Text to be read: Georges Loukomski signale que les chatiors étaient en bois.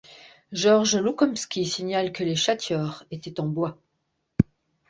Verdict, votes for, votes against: accepted, 2, 0